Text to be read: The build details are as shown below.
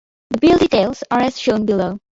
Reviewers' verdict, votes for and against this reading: accepted, 2, 0